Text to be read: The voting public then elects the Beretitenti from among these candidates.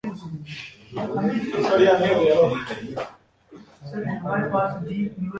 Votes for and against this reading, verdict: 0, 2, rejected